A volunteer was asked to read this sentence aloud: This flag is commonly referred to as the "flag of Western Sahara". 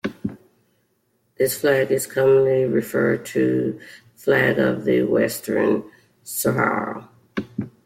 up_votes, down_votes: 0, 2